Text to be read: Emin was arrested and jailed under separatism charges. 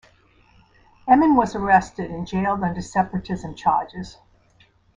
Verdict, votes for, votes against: accepted, 2, 0